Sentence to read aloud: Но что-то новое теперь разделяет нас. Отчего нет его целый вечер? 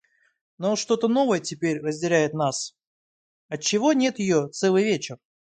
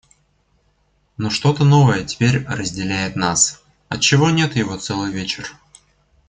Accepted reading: second